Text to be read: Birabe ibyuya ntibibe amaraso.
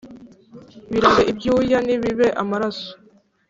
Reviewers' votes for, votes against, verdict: 3, 0, accepted